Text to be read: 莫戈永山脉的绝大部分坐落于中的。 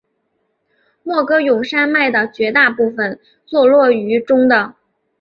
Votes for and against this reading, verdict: 3, 0, accepted